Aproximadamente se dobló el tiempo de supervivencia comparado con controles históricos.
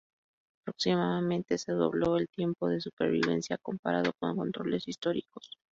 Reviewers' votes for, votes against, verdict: 2, 0, accepted